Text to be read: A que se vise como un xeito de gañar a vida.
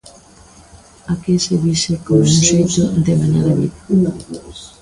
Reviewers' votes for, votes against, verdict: 0, 2, rejected